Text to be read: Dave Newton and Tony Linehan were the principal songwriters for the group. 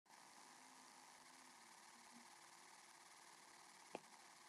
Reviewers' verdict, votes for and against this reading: rejected, 0, 2